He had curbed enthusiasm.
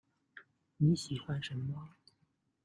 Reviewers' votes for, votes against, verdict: 0, 2, rejected